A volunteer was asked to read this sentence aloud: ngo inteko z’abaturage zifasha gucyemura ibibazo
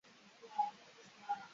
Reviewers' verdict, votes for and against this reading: rejected, 0, 2